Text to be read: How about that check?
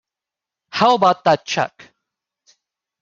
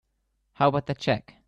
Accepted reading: second